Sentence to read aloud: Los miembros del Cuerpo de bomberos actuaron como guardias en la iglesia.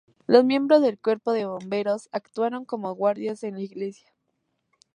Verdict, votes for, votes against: accepted, 2, 0